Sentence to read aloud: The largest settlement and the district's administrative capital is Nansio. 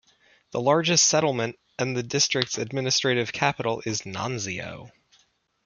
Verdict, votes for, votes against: accepted, 2, 0